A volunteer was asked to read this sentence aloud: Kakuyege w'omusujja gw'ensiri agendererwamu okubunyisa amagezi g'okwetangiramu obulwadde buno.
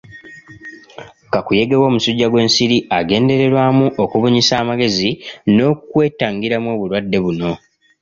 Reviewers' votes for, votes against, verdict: 1, 2, rejected